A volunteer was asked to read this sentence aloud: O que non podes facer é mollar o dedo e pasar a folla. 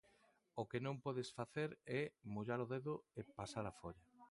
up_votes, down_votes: 2, 0